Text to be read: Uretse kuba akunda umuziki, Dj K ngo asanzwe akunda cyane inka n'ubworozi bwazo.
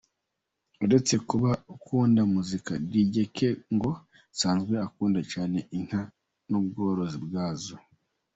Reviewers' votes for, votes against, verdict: 0, 2, rejected